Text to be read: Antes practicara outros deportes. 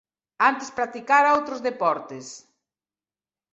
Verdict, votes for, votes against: accepted, 2, 1